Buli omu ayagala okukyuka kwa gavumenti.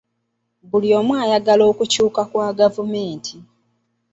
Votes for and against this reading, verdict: 2, 0, accepted